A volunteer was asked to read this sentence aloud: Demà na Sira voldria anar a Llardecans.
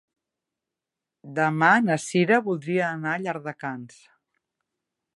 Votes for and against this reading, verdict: 4, 0, accepted